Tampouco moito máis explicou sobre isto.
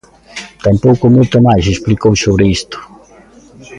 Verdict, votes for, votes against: accepted, 2, 0